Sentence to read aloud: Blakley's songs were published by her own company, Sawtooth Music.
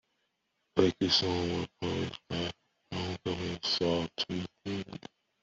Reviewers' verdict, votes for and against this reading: rejected, 1, 2